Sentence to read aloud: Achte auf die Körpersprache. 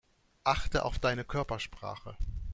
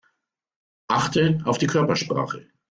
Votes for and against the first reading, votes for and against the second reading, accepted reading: 0, 2, 2, 0, second